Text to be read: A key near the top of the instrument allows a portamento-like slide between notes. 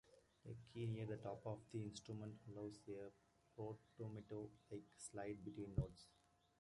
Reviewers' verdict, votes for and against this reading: rejected, 1, 2